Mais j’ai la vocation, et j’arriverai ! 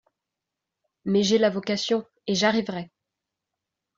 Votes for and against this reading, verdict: 2, 0, accepted